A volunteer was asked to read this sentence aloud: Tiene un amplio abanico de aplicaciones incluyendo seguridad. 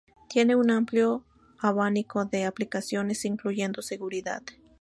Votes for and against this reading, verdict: 4, 0, accepted